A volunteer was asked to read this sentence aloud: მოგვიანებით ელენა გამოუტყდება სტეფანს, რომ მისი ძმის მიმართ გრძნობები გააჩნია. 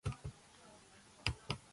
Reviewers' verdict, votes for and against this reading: rejected, 0, 2